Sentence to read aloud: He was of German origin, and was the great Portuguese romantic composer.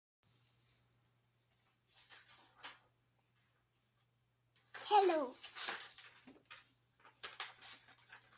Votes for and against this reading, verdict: 0, 2, rejected